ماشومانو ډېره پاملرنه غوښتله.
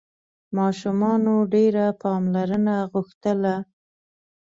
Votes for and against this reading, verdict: 2, 0, accepted